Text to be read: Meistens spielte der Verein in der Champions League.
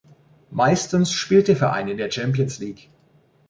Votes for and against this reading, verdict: 0, 2, rejected